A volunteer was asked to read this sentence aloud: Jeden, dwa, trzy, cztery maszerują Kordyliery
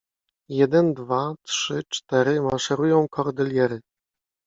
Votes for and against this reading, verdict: 2, 0, accepted